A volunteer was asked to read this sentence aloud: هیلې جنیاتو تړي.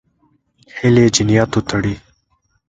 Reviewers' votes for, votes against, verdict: 2, 0, accepted